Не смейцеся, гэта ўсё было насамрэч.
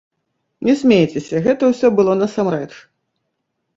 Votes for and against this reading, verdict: 2, 0, accepted